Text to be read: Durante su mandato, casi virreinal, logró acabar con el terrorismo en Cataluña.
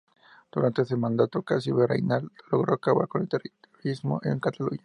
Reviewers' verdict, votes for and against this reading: rejected, 0, 4